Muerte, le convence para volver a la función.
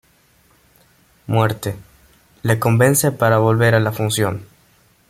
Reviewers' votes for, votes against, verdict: 2, 0, accepted